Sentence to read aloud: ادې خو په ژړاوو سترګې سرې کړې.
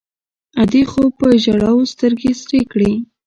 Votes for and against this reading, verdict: 2, 0, accepted